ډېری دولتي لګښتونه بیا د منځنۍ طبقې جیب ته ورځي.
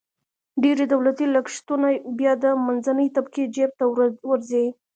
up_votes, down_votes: 1, 2